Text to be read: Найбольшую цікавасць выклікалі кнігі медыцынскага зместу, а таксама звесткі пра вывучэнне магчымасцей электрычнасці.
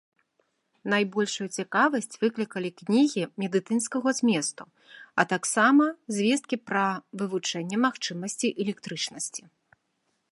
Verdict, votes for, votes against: accepted, 3, 1